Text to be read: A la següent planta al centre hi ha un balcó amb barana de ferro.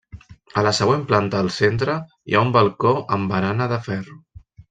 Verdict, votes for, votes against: accepted, 3, 0